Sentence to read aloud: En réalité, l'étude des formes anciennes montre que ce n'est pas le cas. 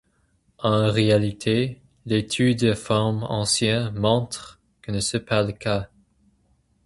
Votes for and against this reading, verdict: 4, 2, accepted